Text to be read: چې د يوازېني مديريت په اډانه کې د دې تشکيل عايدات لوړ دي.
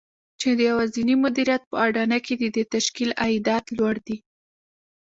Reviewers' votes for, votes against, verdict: 1, 2, rejected